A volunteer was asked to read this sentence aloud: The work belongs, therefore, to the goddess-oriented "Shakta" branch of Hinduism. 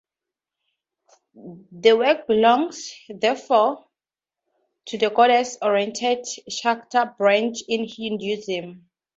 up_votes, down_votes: 0, 2